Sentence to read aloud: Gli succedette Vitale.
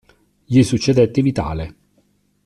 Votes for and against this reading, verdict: 2, 0, accepted